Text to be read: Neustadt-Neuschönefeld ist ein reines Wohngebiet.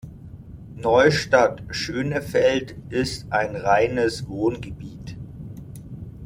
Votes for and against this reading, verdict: 0, 2, rejected